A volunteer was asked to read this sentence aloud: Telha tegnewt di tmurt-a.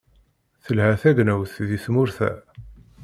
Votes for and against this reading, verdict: 2, 1, accepted